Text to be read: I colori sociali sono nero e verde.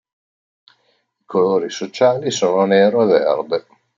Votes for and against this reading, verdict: 0, 2, rejected